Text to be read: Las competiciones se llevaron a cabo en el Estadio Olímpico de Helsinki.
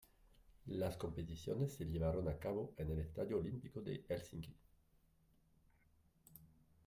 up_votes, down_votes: 0, 2